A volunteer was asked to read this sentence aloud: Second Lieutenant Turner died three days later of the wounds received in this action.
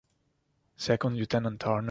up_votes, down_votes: 0, 2